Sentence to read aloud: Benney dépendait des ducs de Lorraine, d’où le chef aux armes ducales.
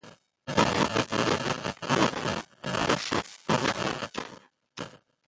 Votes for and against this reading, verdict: 0, 2, rejected